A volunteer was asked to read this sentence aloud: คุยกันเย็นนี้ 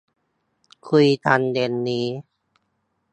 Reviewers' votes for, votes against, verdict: 3, 0, accepted